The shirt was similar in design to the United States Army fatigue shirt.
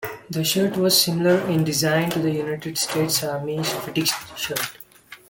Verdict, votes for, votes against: accepted, 2, 0